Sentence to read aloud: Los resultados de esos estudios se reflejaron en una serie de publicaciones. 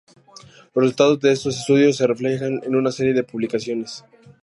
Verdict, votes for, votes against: rejected, 0, 2